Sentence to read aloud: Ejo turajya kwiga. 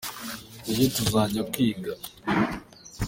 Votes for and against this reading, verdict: 0, 2, rejected